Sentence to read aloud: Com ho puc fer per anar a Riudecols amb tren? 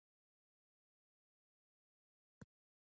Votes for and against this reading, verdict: 0, 6, rejected